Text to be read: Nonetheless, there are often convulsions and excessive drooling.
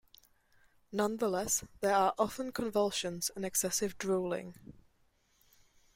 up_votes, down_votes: 2, 0